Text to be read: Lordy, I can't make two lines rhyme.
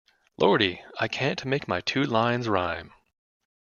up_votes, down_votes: 0, 2